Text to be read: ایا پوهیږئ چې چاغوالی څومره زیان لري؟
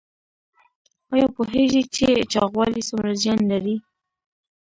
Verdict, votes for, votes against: rejected, 1, 3